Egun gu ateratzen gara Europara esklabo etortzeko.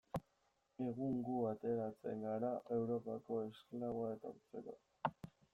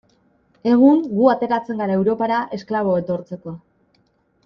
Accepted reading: second